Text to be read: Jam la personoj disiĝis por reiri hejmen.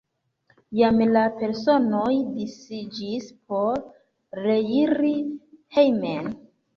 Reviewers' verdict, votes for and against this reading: rejected, 1, 2